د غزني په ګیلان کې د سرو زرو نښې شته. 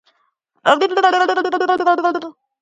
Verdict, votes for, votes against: rejected, 0, 3